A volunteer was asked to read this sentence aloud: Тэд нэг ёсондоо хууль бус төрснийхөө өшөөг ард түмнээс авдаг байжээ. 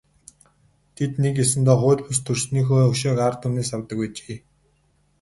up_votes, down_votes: 2, 2